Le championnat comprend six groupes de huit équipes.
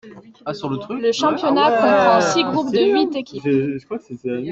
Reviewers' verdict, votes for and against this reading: rejected, 1, 2